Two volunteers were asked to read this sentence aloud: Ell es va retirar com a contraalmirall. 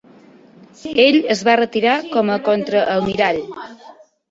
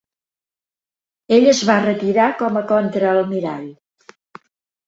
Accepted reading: second